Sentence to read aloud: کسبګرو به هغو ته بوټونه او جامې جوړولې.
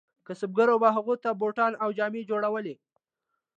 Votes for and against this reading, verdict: 2, 1, accepted